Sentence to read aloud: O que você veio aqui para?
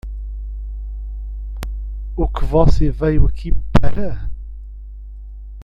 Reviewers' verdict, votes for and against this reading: rejected, 1, 2